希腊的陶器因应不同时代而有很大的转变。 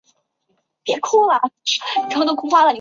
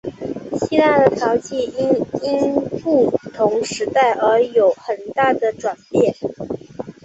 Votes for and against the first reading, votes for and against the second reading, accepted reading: 1, 3, 3, 0, second